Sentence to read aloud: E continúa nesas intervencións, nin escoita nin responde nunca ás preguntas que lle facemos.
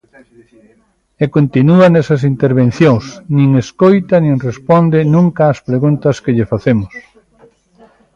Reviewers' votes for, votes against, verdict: 1, 2, rejected